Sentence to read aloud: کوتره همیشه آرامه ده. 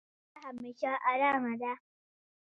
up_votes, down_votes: 0, 2